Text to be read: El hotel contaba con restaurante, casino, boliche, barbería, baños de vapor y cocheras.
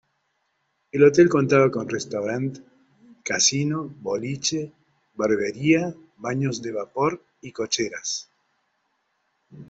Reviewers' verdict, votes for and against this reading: rejected, 0, 2